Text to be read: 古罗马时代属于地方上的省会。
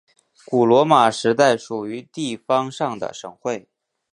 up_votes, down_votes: 2, 0